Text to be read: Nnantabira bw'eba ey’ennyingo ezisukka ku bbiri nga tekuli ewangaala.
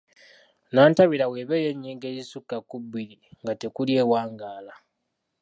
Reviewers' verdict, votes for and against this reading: accepted, 3, 0